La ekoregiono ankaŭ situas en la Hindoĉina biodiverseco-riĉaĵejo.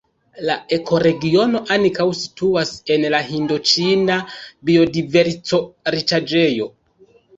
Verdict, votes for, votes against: rejected, 1, 2